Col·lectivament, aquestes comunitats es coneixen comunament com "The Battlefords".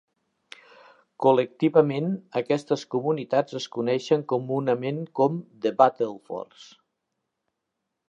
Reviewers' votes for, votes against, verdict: 2, 0, accepted